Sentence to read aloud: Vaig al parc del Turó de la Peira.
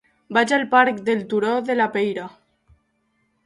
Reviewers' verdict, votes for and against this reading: accepted, 2, 0